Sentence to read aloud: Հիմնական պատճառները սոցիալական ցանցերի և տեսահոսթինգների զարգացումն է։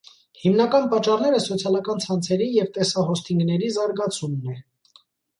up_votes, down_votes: 2, 0